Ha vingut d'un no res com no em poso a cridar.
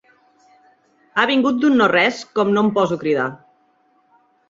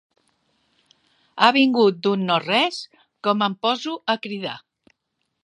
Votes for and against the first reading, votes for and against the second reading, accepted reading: 3, 0, 0, 2, first